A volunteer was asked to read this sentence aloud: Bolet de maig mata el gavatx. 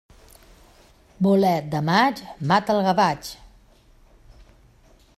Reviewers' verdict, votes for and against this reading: accepted, 2, 0